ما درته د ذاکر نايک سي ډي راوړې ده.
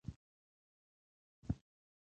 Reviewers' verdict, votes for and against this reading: rejected, 0, 2